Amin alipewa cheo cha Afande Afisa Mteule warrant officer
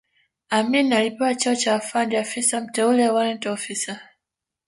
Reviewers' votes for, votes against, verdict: 1, 2, rejected